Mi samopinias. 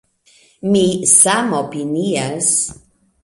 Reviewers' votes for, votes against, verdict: 3, 1, accepted